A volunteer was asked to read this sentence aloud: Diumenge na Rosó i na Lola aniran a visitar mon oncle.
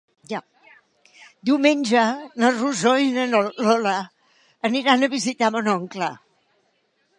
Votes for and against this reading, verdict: 1, 2, rejected